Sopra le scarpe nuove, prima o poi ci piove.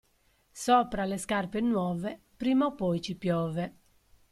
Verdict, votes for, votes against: accepted, 2, 0